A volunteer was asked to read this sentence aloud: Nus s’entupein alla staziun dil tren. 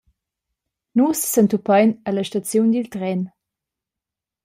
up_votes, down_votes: 2, 0